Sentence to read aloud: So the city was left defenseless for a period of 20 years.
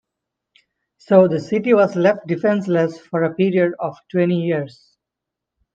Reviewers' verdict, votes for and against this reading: rejected, 0, 2